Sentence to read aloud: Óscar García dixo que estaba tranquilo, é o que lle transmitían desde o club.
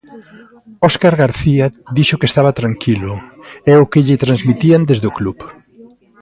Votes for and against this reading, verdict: 2, 0, accepted